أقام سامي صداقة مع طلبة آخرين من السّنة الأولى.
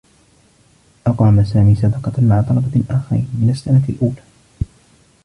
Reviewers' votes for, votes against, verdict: 2, 1, accepted